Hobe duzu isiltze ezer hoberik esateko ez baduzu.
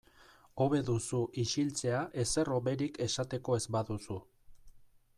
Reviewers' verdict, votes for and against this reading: rejected, 1, 2